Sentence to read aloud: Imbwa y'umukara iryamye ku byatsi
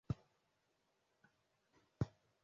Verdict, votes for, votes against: rejected, 0, 2